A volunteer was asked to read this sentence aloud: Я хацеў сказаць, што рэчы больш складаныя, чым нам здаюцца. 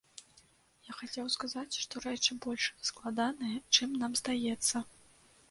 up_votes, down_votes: 0, 2